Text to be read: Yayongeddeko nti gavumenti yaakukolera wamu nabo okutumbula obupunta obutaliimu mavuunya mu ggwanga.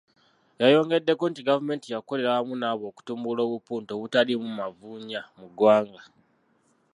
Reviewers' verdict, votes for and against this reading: rejected, 0, 2